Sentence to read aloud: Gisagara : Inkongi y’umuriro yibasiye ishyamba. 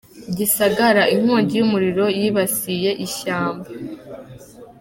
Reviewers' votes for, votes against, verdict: 2, 0, accepted